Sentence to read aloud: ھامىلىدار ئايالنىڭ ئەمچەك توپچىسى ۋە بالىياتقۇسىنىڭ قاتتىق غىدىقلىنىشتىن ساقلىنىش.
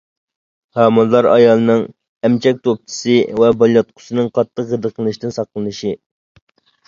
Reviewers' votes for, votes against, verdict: 0, 2, rejected